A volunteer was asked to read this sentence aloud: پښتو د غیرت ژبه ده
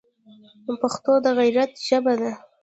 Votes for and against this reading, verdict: 0, 2, rejected